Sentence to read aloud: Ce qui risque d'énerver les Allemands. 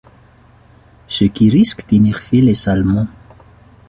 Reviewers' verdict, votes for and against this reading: accepted, 2, 0